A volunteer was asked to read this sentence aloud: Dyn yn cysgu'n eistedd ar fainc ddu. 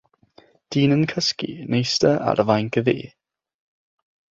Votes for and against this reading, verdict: 3, 6, rejected